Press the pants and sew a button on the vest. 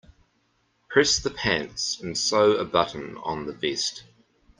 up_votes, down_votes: 2, 1